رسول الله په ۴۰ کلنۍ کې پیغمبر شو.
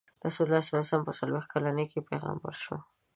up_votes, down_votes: 0, 2